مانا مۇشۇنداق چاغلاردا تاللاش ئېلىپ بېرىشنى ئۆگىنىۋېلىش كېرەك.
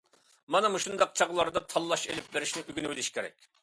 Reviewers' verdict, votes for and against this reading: accepted, 2, 0